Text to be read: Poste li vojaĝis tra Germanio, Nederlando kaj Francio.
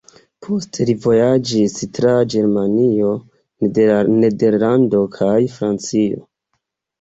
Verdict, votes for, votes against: accepted, 2, 0